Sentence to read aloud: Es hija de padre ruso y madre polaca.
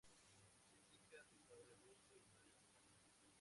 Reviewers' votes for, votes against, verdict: 0, 2, rejected